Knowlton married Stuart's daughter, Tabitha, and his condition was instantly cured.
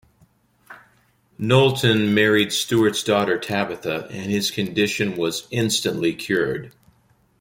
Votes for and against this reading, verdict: 2, 0, accepted